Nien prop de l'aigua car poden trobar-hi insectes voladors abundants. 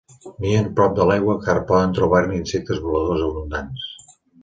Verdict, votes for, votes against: rejected, 0, 2